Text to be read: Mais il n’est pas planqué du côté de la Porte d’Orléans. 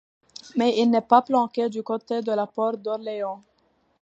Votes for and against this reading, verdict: 2, 1, accepted